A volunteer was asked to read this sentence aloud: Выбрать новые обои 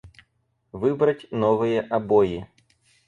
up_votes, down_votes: 4, 0